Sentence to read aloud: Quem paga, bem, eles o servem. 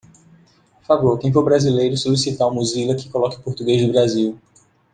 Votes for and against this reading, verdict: 0, 2, rejected